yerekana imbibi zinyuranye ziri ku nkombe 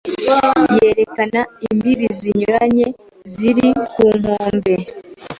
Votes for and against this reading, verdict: 2, 0, accepted